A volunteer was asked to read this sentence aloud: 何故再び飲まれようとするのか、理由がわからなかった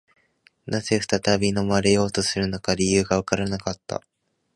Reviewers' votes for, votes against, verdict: 4, 0, accepted